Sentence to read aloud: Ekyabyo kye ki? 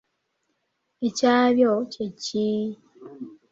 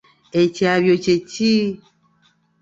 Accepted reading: second